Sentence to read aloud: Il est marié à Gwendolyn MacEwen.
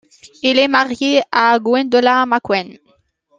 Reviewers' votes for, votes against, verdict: 0, 2, rejected